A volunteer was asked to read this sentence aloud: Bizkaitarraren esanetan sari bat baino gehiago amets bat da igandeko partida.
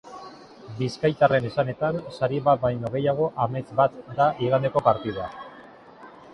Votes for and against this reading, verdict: 2, 0, accepted